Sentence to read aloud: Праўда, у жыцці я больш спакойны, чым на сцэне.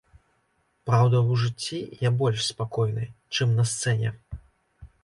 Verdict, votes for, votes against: accepted, 2, 0